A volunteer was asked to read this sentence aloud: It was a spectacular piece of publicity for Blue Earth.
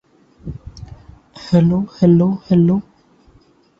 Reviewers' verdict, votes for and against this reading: rejected, 0, 2